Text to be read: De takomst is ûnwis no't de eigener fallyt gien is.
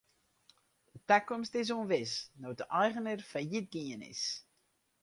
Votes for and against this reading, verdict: 2, 2, rejected